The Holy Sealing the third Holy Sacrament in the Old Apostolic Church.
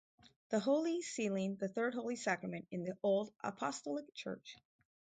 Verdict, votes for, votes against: accepted, 6, 0